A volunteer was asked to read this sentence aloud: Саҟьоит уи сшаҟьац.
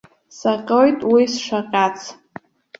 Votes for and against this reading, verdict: 1, 2, rejected